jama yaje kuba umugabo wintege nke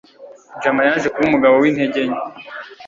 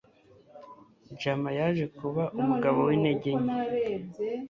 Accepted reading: first